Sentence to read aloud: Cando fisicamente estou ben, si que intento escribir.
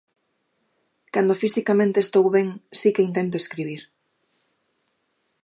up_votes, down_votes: 2, 0